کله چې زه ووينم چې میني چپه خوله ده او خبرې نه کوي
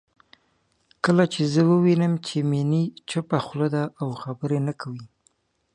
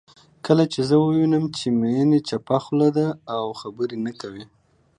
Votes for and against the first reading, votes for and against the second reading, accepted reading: 2, 0, 0, 2, first